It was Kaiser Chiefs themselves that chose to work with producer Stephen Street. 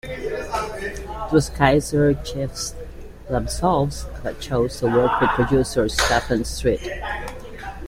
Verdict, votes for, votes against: rejected, 1, 2